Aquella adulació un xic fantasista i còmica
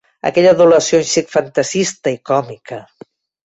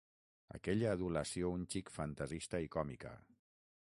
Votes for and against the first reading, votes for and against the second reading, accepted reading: 2, 0, 0, 6, first